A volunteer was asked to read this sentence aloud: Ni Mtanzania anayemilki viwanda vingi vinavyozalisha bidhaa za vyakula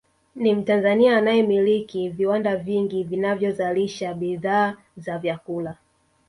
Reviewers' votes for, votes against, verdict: 1, 2, rejected